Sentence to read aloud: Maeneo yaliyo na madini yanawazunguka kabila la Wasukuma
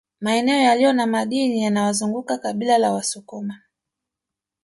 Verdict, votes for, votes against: rejected, 1, 2